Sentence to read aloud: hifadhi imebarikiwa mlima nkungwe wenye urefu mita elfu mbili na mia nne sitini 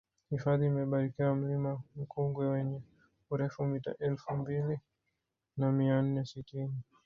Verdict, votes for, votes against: rejected, 0, 2